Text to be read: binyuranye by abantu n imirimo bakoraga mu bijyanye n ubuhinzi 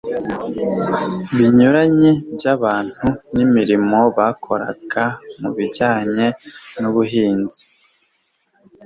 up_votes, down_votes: 2, 0